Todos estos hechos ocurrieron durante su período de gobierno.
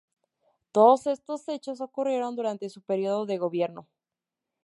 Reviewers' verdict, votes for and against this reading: accepted, 2, 0